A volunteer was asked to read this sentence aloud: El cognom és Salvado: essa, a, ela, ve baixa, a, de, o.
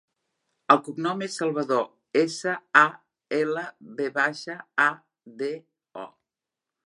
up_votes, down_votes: 0, 2